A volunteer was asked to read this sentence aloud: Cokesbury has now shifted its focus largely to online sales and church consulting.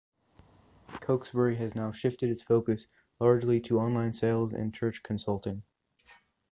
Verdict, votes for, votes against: accepted, 2, 0